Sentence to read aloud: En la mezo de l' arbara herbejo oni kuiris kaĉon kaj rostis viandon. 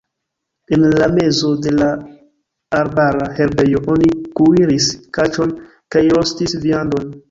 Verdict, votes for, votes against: rejected, 0, 2